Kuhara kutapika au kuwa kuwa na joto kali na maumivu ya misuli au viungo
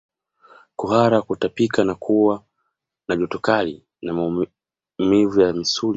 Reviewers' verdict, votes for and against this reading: rejected, 1, 2